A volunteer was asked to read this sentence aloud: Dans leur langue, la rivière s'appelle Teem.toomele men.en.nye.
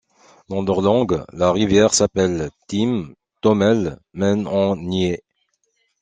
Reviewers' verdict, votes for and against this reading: accepted, 2, 0